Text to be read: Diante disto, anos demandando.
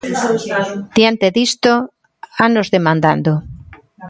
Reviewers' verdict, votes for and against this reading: rejected, 1, 2